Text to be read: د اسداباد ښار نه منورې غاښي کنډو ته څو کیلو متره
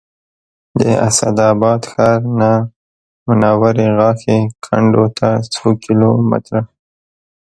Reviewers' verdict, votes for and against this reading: accepted, 2, 1